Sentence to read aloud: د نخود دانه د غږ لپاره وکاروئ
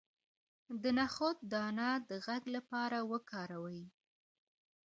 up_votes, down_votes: 2, 1